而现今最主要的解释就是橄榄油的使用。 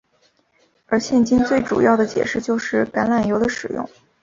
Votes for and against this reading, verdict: 5, 0, accepted